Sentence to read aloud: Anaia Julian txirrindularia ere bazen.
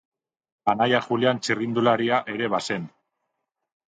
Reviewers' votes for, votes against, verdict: 2, 0, accepted